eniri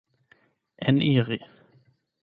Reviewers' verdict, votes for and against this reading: rejected, 4, 8